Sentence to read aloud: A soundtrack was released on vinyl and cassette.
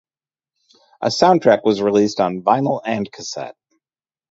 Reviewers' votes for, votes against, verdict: 0, 2, rejected